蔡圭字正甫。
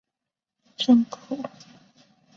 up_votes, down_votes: 0, 5